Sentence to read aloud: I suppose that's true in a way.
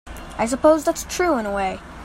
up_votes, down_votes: 2, 0